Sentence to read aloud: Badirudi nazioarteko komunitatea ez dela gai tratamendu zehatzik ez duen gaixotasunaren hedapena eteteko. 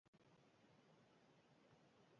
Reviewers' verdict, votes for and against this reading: rejected, 0, 2